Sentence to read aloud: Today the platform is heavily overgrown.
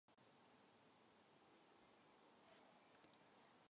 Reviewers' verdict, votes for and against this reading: rejected, 1, 2